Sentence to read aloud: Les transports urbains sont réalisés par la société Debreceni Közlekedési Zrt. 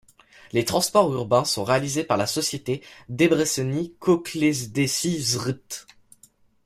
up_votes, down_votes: 1, 2